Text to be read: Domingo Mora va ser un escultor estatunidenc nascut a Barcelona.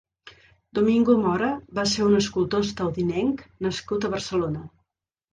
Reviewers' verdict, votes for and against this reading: rejected, 1, 2